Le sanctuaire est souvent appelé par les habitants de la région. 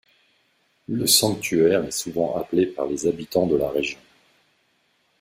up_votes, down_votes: 2, 0